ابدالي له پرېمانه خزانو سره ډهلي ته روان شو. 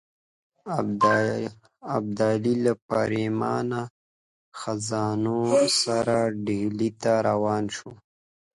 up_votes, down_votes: 1, 3